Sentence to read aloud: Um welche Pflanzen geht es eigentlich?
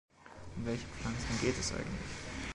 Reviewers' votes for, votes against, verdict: 0, 2, rejected